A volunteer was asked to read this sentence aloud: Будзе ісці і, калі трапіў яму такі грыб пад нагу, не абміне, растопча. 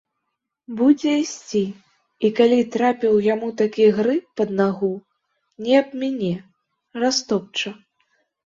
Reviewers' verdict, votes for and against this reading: accepted, 2, 0